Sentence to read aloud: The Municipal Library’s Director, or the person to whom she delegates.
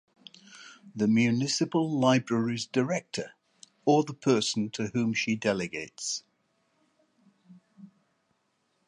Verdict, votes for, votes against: accepted, 2, 0